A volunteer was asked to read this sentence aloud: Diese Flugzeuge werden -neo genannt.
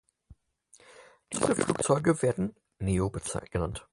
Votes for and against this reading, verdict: 0, 4, rejected